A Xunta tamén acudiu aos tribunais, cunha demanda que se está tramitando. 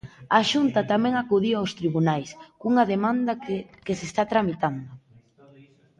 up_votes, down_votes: 0, 2